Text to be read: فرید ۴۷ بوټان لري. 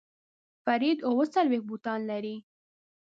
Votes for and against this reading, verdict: 0, 2, rejected